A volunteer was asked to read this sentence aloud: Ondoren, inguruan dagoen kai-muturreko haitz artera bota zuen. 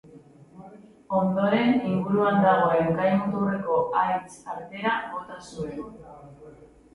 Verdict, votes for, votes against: accepted, 2, 1